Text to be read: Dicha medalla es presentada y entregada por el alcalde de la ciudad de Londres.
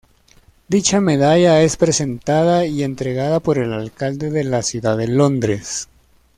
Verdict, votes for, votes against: accepted, 2, 0